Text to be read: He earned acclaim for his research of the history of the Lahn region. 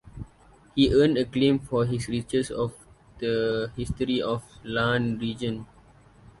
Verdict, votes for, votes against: rejected, 0, 2